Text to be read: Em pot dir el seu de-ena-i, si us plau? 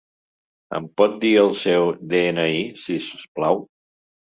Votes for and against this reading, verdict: 2, 0, accepted